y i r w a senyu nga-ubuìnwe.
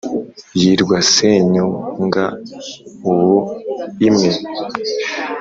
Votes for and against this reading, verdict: 3, 0, accepted